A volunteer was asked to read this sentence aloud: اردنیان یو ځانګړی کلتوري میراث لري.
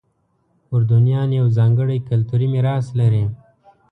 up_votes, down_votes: 2, 0